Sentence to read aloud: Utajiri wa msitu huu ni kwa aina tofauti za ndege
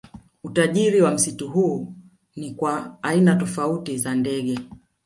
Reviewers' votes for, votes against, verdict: 1, 2, rejected